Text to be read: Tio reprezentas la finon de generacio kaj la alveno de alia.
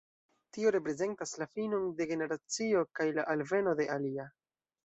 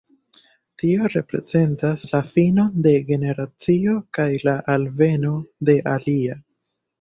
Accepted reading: second